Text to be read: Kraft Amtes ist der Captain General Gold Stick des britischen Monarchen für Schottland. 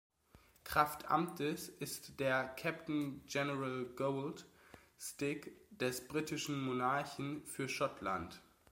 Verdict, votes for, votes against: accepted, 2, 0